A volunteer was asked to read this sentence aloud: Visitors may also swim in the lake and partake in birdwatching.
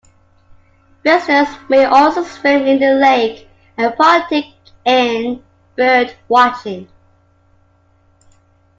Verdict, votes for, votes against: accepted, 2, 0